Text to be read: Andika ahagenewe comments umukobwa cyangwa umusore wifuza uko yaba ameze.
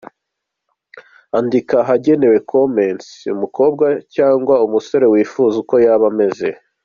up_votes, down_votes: 2, 0